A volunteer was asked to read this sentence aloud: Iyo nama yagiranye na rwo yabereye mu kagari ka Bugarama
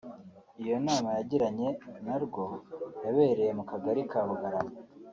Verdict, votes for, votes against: accepted, 3, 0